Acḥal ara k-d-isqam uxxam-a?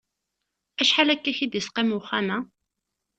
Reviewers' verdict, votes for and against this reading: rejected, 1, 2